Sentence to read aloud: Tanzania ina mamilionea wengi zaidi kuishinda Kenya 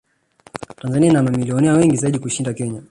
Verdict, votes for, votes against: rejected, 1, 2